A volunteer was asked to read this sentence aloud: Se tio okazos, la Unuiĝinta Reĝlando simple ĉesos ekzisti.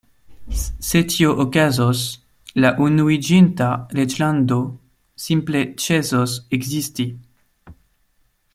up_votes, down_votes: 1, 2